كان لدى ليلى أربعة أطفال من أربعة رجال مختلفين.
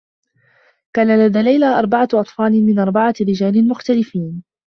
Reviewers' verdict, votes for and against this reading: accepted, 2, 0